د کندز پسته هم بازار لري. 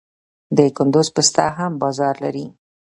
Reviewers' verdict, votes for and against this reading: rejected, 0, 2